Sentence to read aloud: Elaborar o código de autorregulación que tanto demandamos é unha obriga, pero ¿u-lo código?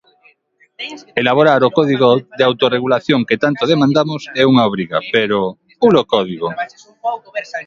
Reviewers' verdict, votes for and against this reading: rejected, 1, 2